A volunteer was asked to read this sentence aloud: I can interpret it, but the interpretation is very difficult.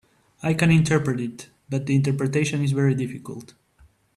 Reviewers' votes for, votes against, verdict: 2, 0, accepted